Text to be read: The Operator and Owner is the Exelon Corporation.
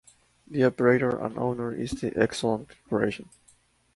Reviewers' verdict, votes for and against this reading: accepted, 4, 0